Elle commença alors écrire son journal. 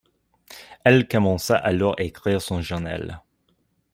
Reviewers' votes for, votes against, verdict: 2, 0, accepted